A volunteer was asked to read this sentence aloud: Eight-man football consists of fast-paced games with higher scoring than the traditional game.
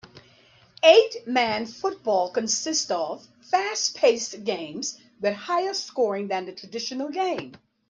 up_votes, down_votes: 2, 0